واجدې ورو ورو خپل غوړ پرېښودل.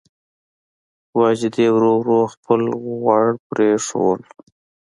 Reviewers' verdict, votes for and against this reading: accepted, 2, 0